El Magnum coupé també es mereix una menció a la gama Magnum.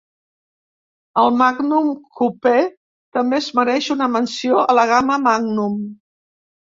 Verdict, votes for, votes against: accepted, 2, 0